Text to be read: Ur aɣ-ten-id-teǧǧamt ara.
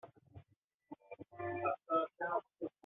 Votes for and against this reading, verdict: 0, 2, rejected